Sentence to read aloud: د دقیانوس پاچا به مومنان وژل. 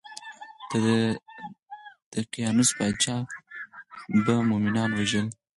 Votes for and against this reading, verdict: 0, 4, rejected